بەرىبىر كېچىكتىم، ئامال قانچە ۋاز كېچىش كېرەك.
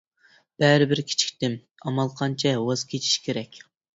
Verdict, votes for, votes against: rejected, 1, 2